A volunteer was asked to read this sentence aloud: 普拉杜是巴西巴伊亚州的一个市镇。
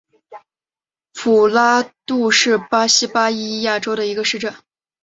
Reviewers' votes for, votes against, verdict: 3, 0, accepted